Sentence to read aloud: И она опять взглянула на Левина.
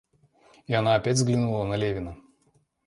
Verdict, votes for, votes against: accepted, 2, 0